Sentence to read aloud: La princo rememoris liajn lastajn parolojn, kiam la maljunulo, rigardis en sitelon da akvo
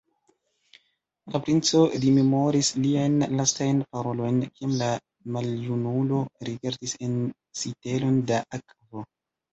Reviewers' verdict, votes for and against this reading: rejected, 1, 2